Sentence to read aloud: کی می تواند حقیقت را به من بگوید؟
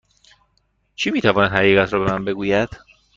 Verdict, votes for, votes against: accepted, 2, 0